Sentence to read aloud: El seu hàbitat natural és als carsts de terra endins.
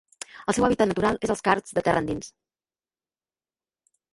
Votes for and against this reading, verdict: 0, 2, rejected